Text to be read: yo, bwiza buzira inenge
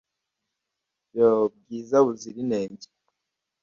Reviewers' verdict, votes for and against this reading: accepted, 2, 0